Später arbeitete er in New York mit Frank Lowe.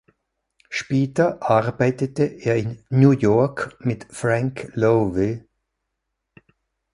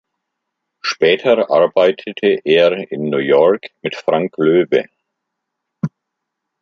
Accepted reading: first